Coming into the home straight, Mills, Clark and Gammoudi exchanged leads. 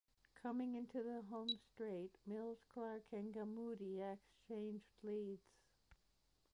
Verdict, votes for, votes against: rejected, 1, 2